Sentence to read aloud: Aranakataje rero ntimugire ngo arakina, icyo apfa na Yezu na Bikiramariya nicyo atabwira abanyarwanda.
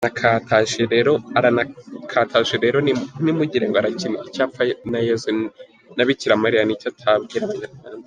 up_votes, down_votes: 0, 3